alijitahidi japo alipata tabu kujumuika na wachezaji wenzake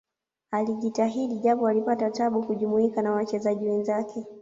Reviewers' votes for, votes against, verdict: 1, 2, rejected